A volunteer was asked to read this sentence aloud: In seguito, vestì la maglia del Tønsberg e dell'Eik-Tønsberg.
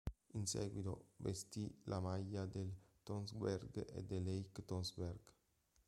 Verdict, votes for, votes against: accepted, 2, 0